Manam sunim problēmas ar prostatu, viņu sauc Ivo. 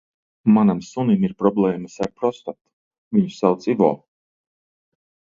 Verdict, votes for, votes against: rejected, 0, 2